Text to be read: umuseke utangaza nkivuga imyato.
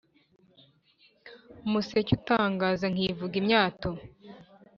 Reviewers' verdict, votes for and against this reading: accepted, 3, 1